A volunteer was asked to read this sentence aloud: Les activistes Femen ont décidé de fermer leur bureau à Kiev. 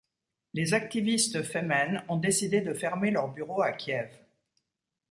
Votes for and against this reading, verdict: 2, 0, accepted